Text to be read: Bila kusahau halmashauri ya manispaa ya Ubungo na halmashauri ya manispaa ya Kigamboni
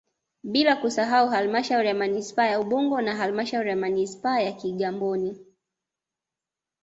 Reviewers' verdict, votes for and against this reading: accepted, 2, 0